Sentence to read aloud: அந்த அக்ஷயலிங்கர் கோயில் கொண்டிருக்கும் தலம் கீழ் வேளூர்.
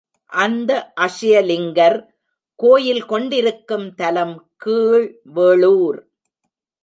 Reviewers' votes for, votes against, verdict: 1, 2, rejected